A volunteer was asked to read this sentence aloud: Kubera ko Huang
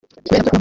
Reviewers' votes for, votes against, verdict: 0, 2, rejected